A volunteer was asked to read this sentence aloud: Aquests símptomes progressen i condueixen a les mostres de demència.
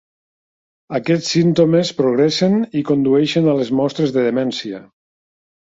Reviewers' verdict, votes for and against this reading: accepted, 2, 0